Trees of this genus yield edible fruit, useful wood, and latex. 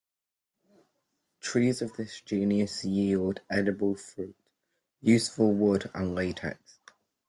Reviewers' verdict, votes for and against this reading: rejected, 1, 2